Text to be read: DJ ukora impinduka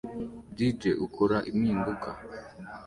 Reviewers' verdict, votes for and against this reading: accepted, 2, 0